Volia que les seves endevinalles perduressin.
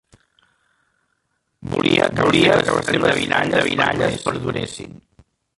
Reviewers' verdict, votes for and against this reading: rejected, 0, 2